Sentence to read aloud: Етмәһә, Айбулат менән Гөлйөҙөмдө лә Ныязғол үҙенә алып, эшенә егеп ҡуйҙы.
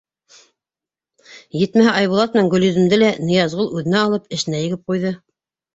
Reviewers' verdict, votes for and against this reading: accepted, 2, 0